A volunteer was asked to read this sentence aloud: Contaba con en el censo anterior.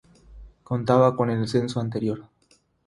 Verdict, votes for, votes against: accepted, 3, 0